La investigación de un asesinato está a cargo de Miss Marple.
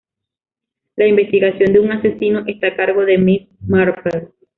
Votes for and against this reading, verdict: 0, 2, rejected